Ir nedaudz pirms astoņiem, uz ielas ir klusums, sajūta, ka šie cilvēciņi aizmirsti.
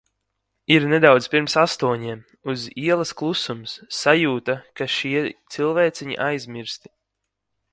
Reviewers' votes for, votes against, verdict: 1, 2, rejected